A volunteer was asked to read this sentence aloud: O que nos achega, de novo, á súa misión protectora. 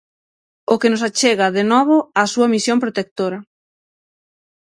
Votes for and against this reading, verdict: 6, 0, accepted